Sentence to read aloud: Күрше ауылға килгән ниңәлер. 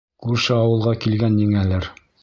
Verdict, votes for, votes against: accepted, 2, 0